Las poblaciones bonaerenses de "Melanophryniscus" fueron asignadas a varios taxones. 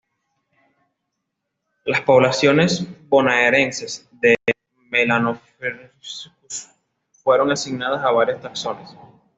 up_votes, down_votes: 2, 0